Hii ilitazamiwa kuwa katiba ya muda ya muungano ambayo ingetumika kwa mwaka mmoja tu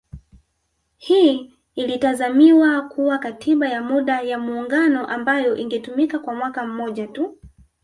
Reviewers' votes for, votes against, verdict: 1, 2, rejected